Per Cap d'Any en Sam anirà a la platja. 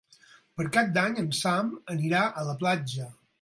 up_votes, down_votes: 8, 0